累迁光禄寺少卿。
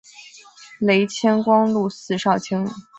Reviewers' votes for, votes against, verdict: 2, 0, accepted